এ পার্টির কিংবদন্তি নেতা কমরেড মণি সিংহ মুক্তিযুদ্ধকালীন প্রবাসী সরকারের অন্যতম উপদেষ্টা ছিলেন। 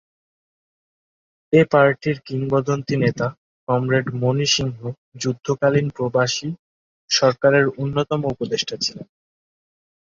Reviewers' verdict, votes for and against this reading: rejected, 0, 2